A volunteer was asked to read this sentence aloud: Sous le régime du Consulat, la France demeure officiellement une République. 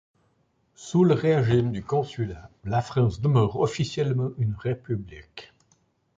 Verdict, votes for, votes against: rejected, 1, 2